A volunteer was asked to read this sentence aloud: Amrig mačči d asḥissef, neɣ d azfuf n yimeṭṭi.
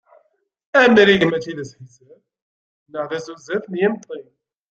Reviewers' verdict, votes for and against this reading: rejected, 0, 2